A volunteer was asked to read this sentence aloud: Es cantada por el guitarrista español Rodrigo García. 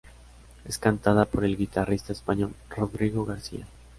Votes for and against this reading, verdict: 3, 0, accepted